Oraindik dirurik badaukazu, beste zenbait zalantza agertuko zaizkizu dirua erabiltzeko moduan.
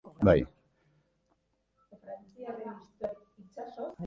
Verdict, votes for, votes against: rejected, 0, 2